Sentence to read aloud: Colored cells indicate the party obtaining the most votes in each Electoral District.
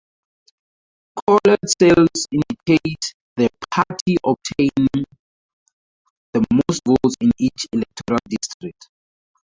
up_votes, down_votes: 0, 2